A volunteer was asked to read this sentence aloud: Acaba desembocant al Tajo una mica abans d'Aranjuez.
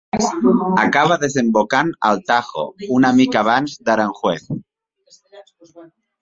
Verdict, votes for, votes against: rejected, 1, 2